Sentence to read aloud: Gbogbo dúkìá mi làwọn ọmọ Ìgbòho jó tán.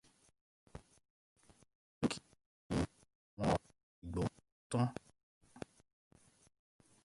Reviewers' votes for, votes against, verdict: 0, 2, rejected